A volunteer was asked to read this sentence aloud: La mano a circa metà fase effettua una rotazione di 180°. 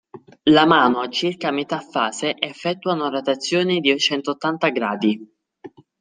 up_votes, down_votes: 0, 2